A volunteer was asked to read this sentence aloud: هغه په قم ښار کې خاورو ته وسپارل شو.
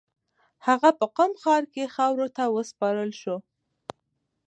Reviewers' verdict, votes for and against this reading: accepted, 2, 0